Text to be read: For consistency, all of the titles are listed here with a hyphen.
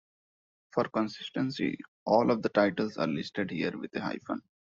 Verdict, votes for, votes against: accepted, 2, 0